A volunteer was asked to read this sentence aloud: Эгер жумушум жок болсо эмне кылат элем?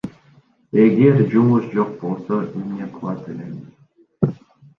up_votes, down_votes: 1, 2